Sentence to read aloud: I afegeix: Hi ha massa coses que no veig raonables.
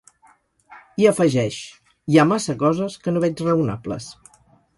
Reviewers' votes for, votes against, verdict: 4, 0, accepted